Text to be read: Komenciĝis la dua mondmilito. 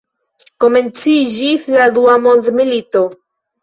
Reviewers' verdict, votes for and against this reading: rejected, 0, 2